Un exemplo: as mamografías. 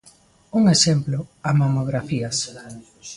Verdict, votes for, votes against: rejected, 1, 2